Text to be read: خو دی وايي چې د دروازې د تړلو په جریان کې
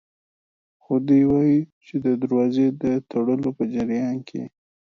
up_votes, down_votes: 3, 0